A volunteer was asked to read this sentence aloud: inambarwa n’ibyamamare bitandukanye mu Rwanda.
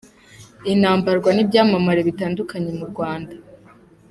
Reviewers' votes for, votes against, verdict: 2, 1, accepted